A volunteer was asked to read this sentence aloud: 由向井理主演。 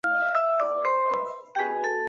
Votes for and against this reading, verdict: 1, 2, rejected